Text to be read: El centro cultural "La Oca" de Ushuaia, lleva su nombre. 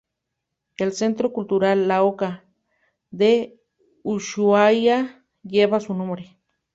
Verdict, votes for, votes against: accepted, 2, 0